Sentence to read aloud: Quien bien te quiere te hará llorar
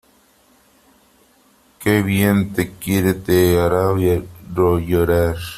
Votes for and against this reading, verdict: 0, 3, rejected